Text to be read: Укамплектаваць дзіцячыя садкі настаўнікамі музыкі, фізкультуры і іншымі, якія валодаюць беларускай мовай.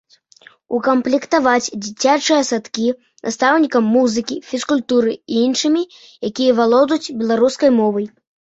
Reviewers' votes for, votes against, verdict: 1, 2, rejected